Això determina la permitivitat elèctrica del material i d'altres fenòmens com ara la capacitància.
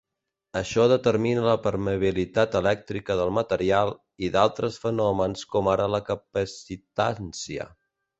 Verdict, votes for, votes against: rejected, 1, 2